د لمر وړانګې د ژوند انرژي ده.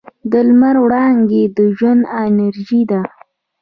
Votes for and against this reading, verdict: 2, 0, accepted